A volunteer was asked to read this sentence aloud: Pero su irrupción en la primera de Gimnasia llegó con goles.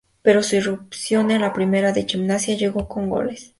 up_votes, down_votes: 0, 2